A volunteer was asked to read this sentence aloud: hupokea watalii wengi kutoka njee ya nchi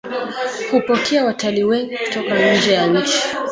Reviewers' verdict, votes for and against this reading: rejected, 1, 2